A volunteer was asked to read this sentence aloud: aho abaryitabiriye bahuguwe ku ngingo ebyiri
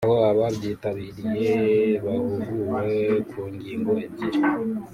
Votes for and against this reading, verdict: 1, 2, rejected